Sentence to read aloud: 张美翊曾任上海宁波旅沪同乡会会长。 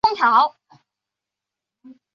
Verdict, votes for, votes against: rejected, 1, 2